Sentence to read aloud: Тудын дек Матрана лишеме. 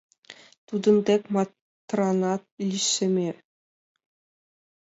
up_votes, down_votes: 1, 5